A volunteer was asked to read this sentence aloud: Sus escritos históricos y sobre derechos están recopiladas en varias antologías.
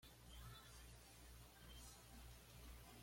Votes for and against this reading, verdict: 1, 2, rejected